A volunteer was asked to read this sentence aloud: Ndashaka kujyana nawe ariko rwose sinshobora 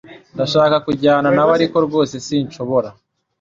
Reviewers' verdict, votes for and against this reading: accepted, 2, 0